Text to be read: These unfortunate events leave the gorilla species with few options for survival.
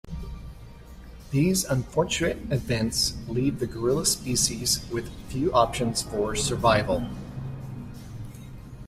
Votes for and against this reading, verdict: 2, 0, accepted